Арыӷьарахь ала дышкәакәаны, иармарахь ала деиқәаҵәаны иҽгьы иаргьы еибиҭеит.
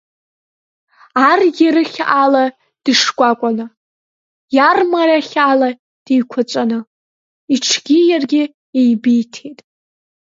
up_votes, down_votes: 0, 2